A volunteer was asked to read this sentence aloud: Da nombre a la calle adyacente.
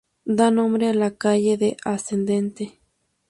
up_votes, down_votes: 0, 2